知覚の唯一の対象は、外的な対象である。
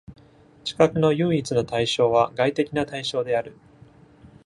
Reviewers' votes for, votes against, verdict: 2, 0, accepted